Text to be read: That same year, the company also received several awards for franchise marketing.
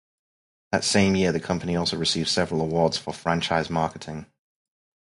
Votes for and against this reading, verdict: 4, 0, accepted